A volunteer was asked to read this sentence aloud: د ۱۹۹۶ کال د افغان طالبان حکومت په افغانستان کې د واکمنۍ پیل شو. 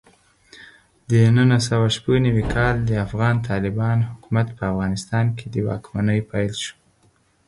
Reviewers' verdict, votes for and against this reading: rejected, 0, 2